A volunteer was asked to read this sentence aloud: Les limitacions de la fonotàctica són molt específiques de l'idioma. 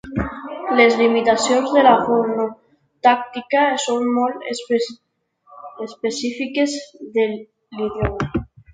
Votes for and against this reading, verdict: 1, 2, rejected